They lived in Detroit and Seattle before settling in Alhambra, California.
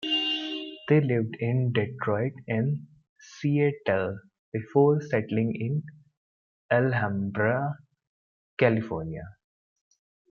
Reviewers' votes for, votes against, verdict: 2, 0, accepted